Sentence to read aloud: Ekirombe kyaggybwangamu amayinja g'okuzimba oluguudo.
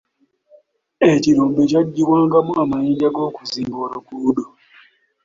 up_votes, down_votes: 2, 1